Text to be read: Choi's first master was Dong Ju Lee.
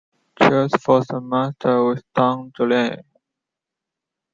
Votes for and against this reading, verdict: 2, 0, accepted